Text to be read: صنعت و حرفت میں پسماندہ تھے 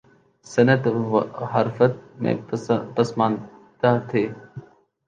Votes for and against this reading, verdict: 2, 2, rejected